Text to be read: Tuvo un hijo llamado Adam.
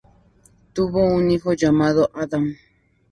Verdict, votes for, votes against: accepted, 4, 0